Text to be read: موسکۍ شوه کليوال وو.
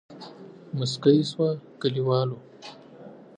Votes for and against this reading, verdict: 2, 0, accepted